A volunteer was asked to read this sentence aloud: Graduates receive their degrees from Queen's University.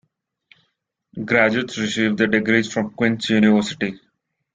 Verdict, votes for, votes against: rejected, 1, 2